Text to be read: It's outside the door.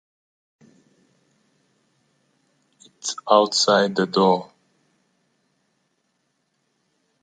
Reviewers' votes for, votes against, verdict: 2, 0, accepted